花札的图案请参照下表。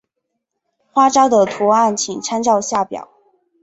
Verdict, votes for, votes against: accepted, 2, 0